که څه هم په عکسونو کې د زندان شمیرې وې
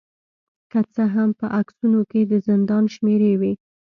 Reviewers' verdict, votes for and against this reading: accepted, 2, 0